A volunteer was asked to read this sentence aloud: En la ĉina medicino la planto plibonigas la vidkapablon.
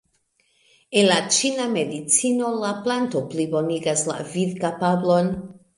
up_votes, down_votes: 2, 0